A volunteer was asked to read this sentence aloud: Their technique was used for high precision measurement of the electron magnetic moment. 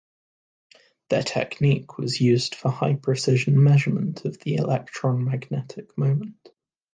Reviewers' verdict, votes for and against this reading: accepted, 2, 1